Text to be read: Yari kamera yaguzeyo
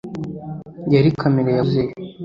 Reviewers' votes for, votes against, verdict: 0, 2, rejected